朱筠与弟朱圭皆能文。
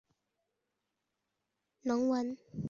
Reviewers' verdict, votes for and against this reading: rejected, 0, 2